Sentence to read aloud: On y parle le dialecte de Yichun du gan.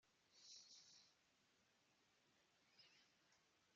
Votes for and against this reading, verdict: 0, 2, rejected